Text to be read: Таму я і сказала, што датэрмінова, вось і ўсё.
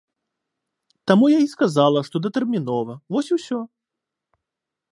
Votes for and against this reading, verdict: 2, 0, accepted